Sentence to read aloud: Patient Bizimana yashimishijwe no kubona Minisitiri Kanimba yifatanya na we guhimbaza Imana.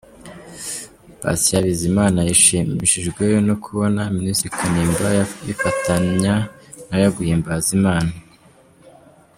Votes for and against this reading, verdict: 1, 2, rejected